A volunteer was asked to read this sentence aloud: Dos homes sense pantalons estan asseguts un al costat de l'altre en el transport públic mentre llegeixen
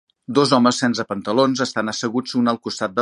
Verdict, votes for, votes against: rejected, 1, 2